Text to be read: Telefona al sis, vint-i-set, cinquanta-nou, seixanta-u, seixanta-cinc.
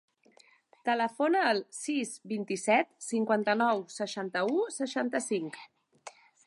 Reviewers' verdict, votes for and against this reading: accepted, 2, 0